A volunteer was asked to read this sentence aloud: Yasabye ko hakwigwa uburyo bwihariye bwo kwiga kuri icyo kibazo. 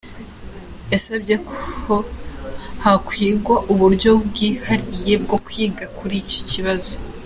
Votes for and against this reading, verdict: 2, 0, accepted